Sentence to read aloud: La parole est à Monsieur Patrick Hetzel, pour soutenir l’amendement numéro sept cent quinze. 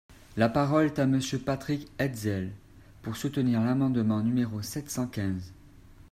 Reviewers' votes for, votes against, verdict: 2, 0, accepted